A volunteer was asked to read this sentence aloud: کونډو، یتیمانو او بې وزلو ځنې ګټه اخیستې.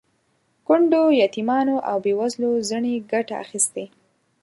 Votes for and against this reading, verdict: 2, 0, accepted